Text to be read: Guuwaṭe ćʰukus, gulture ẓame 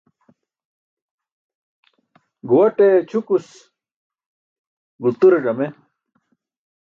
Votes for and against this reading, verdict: 2, 0, accepted